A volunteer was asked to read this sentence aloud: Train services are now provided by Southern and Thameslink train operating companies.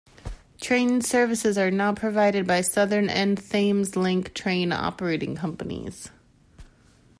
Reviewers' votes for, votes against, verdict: 0, 2, rejected